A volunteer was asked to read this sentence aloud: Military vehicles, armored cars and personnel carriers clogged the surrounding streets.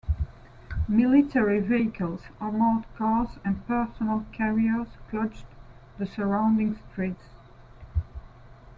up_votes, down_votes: 1, 2